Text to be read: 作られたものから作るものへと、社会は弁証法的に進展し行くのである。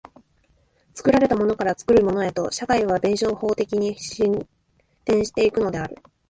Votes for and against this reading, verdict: 0, 2, rejected